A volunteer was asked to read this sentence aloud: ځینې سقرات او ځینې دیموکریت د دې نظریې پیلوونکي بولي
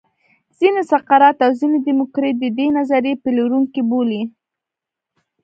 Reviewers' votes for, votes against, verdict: 0, 2, rejected